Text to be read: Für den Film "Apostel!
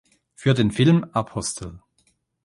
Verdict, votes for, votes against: accepted, 2, 0